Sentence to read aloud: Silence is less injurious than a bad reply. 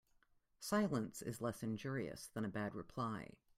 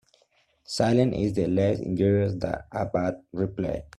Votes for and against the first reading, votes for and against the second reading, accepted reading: 2, 0, 0, 2, first